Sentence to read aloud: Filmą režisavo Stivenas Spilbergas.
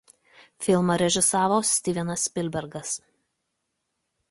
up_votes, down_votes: 2, 0